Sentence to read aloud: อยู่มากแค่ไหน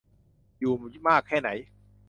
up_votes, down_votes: 2, 0